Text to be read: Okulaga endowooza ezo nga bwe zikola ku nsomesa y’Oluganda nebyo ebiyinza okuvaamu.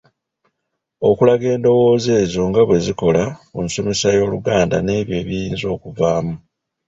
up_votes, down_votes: 1, 2